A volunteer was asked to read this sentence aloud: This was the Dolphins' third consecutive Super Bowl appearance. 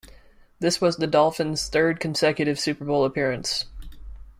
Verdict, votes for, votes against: accepted, 2, 0